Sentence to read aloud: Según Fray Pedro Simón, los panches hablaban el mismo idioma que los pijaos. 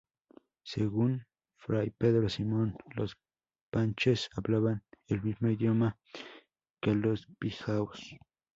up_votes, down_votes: 4, 0